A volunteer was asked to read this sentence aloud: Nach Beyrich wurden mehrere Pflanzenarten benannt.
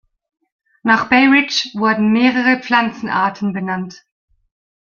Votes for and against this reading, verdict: 1, 2, rejected